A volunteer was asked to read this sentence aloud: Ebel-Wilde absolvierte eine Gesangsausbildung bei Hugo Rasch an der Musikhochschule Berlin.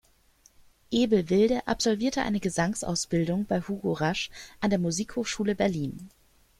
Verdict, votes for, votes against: accepted, 2, 0